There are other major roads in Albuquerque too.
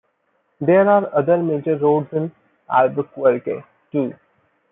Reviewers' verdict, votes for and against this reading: accepted, 2, 1